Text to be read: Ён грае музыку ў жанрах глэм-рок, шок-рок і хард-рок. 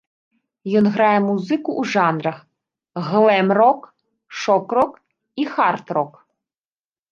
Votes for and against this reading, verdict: 0, 2, rejected